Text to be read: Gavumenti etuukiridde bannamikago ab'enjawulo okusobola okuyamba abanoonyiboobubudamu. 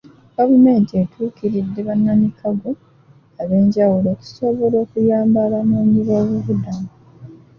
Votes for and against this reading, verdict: 2, 0, accepted